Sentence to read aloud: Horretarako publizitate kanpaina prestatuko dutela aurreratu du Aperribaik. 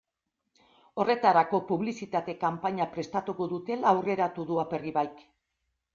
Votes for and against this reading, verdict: 2, 0, accepted